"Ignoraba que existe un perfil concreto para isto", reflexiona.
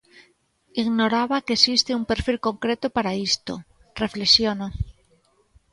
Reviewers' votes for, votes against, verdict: 2, 1, accepted